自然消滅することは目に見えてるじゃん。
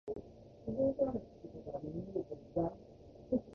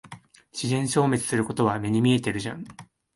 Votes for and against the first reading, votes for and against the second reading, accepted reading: 1, 2, 2, 0, second